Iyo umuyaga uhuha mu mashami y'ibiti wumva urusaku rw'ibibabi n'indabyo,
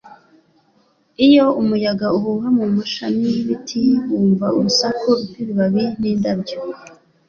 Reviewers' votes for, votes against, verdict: 2, 0, accepted